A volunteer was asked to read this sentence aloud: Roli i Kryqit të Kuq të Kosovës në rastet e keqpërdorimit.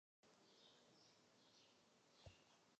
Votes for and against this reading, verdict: 0, 2, rejected